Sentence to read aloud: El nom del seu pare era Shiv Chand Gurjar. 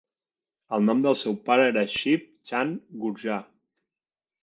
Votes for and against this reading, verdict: 2, 0, accepted